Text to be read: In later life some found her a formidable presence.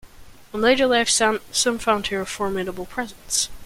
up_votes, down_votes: 1, 2